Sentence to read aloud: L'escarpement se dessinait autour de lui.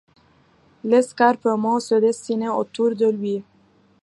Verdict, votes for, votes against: accepted, 2, 0